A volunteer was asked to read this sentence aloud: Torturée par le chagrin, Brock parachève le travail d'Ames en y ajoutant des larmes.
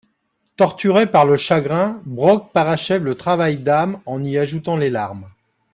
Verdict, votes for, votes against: rejected, 0, 2